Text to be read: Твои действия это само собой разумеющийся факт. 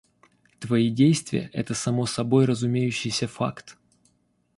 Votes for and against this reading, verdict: 2, 0, accepted